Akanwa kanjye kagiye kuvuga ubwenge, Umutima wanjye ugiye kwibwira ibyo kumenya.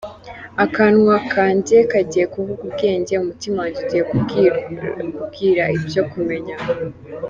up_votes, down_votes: 1, 2